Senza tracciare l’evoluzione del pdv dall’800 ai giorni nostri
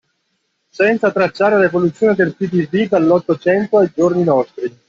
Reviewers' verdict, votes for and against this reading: rejected, 0, 2